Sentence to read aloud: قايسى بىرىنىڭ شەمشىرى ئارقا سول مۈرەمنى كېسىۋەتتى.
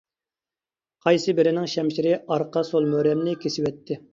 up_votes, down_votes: 2, 0